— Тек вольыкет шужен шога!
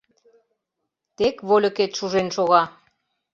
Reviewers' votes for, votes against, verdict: 2, 0, accepted